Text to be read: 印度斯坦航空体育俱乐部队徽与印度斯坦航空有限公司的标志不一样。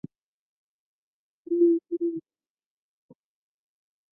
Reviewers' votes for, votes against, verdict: 0, 2, rejected